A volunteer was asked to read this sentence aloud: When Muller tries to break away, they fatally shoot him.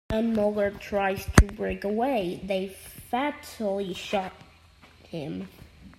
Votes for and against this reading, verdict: 0, 2, rejected